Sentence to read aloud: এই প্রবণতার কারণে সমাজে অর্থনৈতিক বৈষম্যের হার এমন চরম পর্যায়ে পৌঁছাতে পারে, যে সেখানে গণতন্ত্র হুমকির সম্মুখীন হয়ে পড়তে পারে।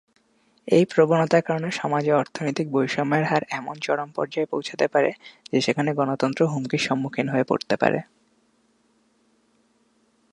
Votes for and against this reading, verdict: 2, 1, accepted